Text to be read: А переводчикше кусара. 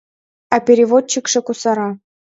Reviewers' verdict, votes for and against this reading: accepted, 2, 0